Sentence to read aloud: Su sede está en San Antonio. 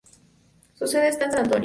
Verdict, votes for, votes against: rejected, 2, 2